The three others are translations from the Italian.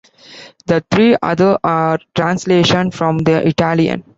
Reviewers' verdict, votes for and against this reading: rejected, 0, 2